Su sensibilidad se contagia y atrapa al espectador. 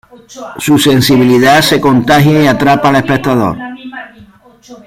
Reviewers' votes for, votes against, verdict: 1, 2, rejected